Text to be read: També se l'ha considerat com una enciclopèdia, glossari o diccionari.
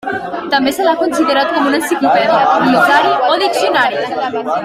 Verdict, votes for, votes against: rejected, 1, 2